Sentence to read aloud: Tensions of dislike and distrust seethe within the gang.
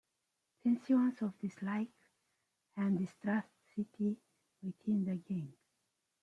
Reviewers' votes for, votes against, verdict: 1, 2, rejected